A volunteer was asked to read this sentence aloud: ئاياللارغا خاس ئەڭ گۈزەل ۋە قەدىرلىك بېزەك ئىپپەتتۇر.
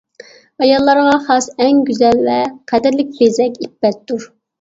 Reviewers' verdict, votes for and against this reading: accepted, 2, 0